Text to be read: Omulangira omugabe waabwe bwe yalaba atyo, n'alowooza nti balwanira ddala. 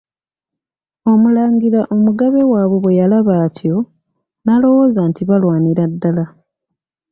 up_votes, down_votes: 2, 0